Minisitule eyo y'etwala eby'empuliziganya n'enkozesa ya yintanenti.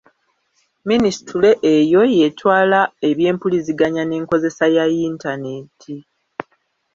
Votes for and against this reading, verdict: 1, 2, rejected